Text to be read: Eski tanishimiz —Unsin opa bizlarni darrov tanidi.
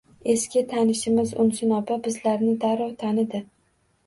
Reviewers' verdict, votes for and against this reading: accepted, 2, 0